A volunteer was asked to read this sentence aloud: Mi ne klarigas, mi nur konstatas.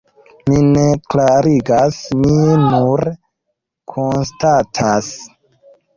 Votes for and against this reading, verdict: 0, 2, rejected